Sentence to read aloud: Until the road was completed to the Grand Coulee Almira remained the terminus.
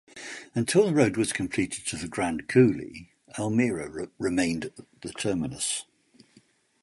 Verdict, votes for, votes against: accepted, 2, 0